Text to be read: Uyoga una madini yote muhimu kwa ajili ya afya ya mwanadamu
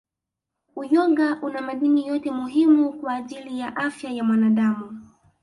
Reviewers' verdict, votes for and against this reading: accepted, 2, 0